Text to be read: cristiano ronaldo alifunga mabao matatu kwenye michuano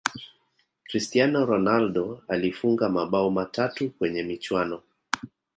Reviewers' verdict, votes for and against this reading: accepted, 4, 0